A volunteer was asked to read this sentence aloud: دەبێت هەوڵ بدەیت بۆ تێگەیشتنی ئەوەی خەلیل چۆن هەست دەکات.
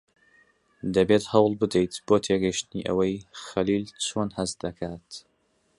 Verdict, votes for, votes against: accepted, 3, 0